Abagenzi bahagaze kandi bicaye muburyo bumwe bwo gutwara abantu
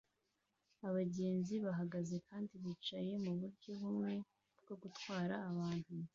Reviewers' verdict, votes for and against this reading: accepted, 2, 0